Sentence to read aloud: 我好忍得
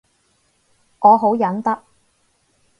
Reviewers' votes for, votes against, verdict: 0, 2, rejected